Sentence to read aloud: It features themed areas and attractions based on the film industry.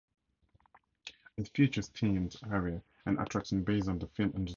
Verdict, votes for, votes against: rejected, 2, 2